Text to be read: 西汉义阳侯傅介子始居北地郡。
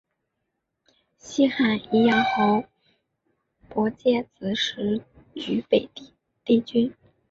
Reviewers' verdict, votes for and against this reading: rejected, 1, 2